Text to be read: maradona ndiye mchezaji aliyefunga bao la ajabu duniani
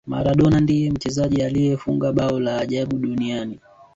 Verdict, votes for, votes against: rejected, 1, 2